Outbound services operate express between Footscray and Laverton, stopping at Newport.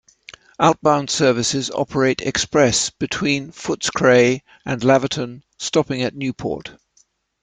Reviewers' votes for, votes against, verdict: 2, 0, accepted